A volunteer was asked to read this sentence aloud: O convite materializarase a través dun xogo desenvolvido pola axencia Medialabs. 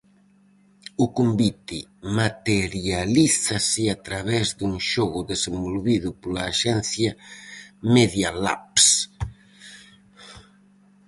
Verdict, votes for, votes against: rejected, 0, 4